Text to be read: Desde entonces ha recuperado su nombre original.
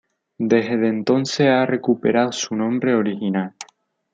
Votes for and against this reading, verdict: 0, 2, rejected